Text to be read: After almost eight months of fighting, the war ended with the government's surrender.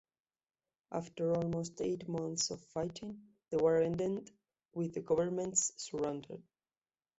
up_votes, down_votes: 0, 2